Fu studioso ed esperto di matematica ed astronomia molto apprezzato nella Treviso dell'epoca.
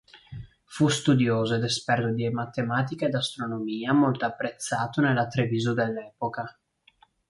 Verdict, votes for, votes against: accepted, 2, 0